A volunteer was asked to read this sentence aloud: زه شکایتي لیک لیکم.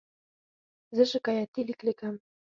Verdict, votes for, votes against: rejected, 2, 4